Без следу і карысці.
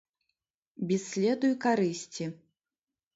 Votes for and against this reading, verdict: 0, 2, rejected